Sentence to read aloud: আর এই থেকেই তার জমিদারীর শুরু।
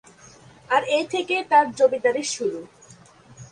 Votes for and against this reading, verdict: 3, 1, accepted